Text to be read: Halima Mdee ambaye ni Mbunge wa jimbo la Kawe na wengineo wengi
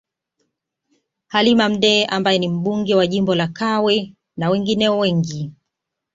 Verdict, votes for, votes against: accepted, 2, 0